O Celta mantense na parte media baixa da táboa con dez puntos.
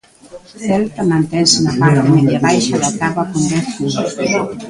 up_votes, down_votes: 1, 2